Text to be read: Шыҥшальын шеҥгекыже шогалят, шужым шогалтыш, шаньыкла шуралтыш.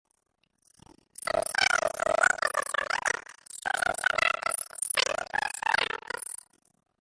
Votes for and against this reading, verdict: 1, 2, rejected